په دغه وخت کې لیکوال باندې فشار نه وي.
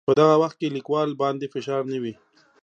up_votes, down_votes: 2, 0